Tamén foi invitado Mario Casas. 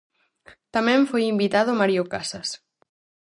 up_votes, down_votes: 4, 0